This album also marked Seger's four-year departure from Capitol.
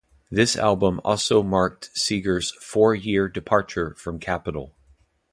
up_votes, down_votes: 2, 0